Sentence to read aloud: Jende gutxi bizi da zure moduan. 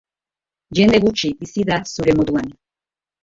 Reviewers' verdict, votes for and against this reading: rejected, 0, 2